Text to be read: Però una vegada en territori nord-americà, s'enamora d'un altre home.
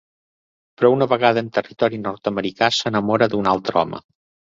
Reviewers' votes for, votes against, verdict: 2, 0, accepted